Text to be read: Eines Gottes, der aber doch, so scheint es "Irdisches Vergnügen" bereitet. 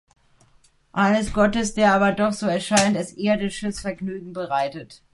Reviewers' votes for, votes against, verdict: 2, 1, accepted